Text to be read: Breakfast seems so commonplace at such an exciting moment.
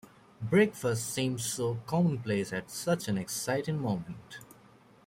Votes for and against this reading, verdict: 2, 0, accepted